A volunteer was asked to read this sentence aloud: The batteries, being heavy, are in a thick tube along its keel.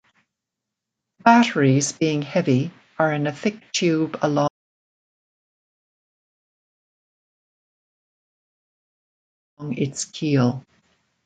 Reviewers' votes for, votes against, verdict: 0, 2, rejected